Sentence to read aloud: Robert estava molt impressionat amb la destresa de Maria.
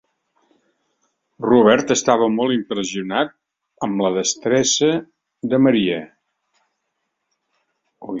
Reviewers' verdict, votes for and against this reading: rejected, 0, 2